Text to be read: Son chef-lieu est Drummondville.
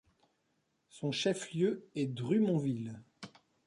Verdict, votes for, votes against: rejected, 1, 2